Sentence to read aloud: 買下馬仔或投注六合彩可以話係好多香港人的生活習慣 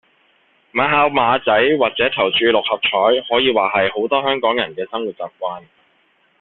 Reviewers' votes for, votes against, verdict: 0, 2, rejected